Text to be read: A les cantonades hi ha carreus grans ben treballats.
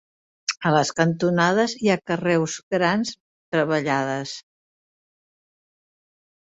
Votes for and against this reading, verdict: 0, 5, rejected